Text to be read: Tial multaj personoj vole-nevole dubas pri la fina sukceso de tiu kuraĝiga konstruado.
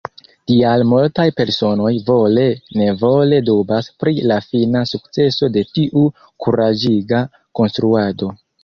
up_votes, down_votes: 2, 1